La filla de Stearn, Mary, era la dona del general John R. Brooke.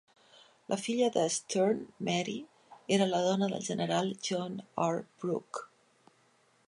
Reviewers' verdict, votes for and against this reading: accepted, 3, 0